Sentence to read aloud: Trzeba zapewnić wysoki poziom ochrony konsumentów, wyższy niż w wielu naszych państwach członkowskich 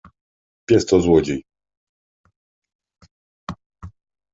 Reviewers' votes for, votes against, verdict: 0, 2, rejected